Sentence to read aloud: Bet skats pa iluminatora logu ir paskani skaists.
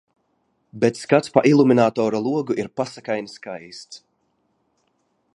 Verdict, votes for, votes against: accepted, 2, 0